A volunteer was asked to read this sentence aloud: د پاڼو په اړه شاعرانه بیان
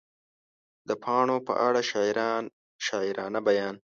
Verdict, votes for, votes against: rejected, 1, 2